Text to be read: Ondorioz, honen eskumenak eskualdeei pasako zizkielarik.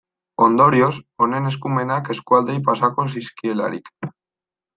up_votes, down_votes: 2, 0